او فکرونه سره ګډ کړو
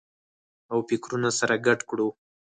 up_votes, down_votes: 4, 0